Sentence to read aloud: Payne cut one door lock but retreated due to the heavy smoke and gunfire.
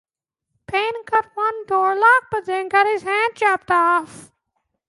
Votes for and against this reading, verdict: 0, 2, rejected